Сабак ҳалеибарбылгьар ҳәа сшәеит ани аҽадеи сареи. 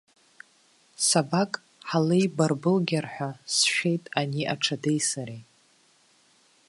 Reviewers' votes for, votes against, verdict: 1, 2, rejected